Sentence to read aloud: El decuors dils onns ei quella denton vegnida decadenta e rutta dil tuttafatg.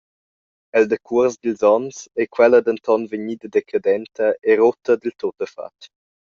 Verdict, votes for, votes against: accepted, 2, 0